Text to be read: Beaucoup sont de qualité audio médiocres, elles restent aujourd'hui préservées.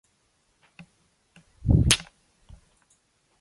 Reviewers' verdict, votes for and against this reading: rejected, 0, 2